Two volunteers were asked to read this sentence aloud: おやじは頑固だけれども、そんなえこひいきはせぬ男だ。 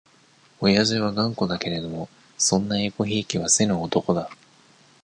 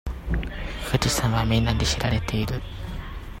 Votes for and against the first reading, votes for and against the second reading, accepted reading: 2, 0, 0, 2, first